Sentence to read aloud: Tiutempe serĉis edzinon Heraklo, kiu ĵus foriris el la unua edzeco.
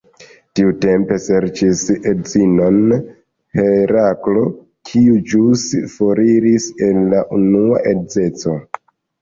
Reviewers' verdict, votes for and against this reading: rejected, 1, 2